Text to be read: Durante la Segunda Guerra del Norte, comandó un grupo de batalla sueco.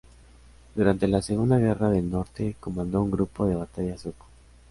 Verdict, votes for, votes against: accepted, 2, 0